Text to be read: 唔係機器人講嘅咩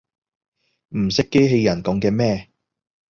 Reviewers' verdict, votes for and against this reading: rejected, 1, 2